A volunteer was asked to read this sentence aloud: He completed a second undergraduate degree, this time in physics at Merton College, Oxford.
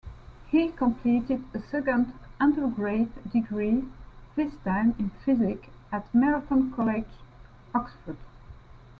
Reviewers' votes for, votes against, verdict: 2, 0, accepted